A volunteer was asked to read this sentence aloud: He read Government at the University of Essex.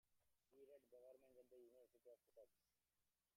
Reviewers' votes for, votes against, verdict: 0, 2, rejected